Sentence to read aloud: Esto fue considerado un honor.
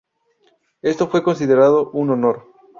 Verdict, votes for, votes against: accepted, 2, 0